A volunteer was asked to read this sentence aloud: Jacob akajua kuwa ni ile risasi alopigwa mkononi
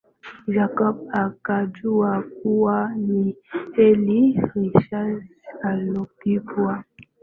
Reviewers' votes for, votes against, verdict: 1, 6, rejected